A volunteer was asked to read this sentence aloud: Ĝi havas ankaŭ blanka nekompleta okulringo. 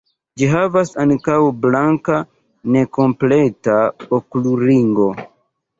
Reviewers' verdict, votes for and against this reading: accepted, 2, 0